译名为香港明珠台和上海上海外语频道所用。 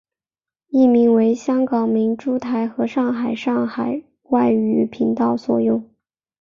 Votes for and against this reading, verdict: 2, 0, accepted